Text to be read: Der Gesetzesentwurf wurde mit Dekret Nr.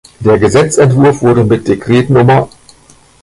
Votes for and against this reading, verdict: 1, 2, rejected